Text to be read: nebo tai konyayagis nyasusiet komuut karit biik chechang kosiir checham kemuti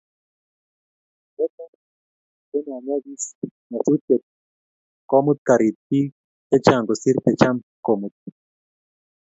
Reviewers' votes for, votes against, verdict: 2, 0, accepted